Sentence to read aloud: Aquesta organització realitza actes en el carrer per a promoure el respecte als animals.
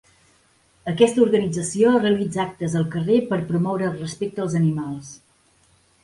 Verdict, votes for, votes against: rejected, 2, 3